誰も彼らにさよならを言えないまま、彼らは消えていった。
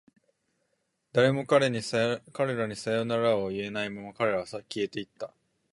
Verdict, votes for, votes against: rejected, 1, 2